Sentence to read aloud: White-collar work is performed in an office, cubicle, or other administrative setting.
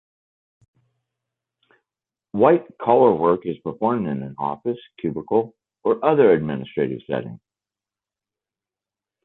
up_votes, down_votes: 2, 0